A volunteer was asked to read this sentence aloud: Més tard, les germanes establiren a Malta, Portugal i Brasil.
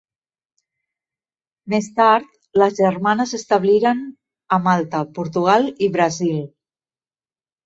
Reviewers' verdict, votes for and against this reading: accepted, 2, 0